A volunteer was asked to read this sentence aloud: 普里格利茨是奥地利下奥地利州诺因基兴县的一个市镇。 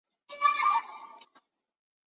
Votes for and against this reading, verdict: 1, 3, rejected